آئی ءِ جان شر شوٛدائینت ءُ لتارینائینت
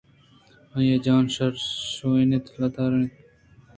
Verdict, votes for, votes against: rejected, 1, 2